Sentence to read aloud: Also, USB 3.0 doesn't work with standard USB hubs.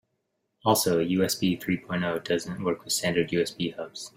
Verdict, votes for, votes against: rejected, 0, 2